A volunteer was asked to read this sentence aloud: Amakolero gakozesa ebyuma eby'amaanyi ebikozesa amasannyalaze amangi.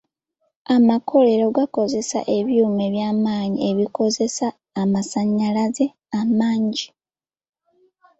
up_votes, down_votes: 2, 0